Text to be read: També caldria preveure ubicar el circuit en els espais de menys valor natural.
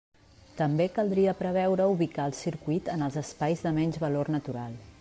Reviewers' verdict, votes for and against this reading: accepted, 3, 0